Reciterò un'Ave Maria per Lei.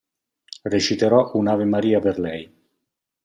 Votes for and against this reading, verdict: 2, 0, accepted